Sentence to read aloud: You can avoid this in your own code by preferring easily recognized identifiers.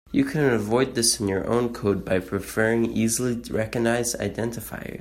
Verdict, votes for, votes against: accepted, 2, 0